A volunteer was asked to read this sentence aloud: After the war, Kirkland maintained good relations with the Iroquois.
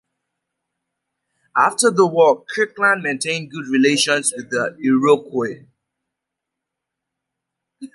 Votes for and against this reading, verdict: 0, 3, rejected